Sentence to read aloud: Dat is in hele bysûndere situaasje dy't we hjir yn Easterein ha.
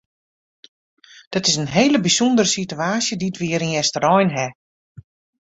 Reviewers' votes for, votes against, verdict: 2, 0, accepted